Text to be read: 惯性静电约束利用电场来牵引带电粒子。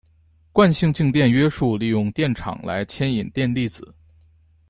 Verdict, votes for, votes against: rejected, 0, 2